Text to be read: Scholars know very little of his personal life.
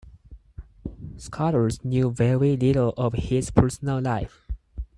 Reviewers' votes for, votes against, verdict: 2, 4, rejected